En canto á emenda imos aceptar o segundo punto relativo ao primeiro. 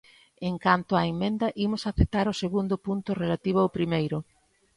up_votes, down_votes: 0, 2